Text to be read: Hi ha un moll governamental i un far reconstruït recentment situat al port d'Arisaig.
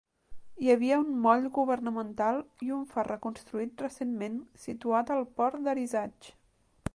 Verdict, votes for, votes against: rejected, 1, 2